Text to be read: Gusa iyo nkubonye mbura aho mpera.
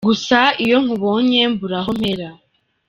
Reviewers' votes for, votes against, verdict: 2, 1, accepted